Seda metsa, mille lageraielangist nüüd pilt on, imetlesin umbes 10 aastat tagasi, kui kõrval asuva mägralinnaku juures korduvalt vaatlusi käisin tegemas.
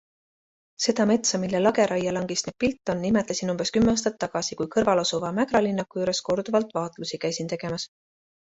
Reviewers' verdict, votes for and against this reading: rejected, 0, 2